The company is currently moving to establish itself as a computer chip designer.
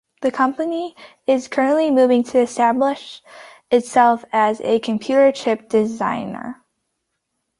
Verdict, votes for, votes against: accepted, 2, 0